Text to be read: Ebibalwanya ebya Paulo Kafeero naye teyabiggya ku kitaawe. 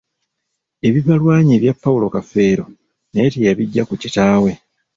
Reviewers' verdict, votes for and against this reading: rejected, 1, 2